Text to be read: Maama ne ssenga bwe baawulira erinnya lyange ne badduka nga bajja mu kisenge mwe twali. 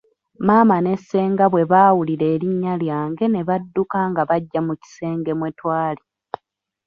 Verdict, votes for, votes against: rejected, 1, 2